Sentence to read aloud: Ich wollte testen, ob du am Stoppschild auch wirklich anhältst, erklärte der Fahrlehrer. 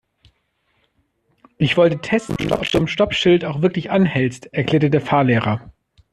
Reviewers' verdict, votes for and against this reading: rejected, 1, 2